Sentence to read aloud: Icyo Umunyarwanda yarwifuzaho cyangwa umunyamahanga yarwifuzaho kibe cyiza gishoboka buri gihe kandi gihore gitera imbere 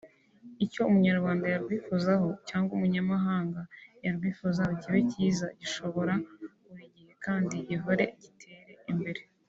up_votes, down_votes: 1, 2